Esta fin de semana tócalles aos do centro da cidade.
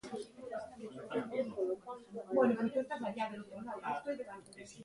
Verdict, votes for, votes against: rejected, 0, 2